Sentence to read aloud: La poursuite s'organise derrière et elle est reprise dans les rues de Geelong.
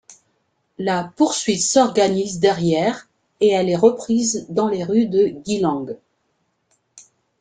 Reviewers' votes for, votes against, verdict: 2, 0, accepted